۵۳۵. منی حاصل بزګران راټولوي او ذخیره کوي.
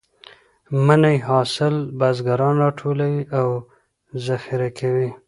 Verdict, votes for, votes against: rejected, 0, 2